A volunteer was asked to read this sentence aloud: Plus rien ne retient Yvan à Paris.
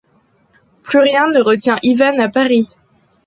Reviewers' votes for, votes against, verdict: 1, 2, rejected